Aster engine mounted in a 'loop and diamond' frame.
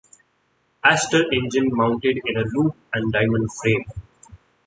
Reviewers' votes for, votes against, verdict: 2, 1, accepted